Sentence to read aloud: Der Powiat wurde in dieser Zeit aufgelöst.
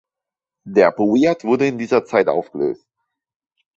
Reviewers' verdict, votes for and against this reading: rejected, 0, 2